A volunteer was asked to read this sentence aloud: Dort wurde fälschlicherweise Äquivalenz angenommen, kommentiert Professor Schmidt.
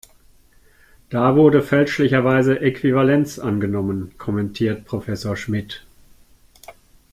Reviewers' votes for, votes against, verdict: 0, 2, rejected